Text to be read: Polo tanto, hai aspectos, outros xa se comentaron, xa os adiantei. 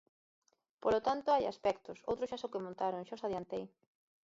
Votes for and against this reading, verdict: 0, 2, rejected